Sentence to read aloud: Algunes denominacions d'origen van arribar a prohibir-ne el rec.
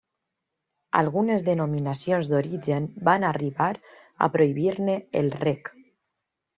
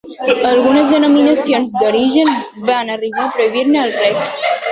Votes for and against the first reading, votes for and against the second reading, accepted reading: 3, 0, 1, 2, first